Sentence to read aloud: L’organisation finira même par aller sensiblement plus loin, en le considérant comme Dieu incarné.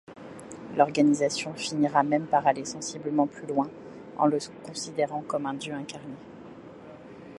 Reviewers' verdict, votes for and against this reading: rejected, 0, 2